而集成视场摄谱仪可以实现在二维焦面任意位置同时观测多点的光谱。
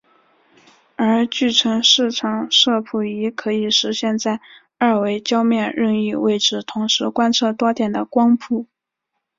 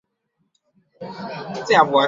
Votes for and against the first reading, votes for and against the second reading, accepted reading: 4, 0, 0, 2, first